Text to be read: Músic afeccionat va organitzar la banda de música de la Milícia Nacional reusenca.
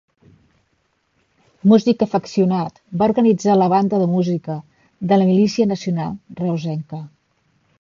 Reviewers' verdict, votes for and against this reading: accepted, 2, 0